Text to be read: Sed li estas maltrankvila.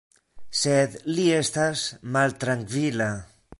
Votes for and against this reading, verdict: 2, 0, accepted